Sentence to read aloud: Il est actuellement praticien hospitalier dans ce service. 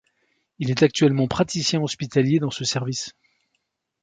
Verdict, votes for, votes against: accepted, 2, 0